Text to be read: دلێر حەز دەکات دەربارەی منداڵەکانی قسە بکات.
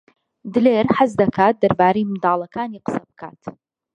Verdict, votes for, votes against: accepted, 2, 1